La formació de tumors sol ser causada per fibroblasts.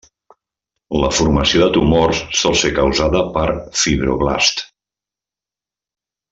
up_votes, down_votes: 2, 0